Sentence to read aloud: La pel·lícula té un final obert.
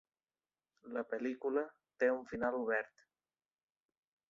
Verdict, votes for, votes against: accepted, 4, 0